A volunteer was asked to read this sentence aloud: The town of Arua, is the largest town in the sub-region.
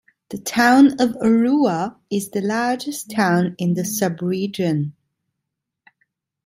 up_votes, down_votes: 2, 0